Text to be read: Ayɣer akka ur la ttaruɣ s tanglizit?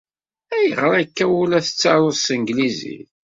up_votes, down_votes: 2, 0